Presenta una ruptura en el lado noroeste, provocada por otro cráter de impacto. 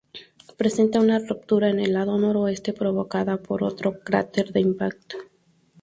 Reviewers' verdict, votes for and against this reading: accepted, 2, 0